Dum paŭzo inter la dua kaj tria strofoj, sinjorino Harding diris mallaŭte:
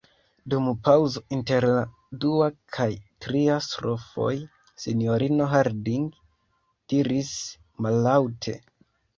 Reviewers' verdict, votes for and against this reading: accepted, 2, 1